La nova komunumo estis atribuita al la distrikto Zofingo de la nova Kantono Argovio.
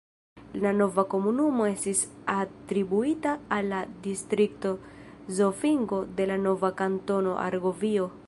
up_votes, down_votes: 2, 0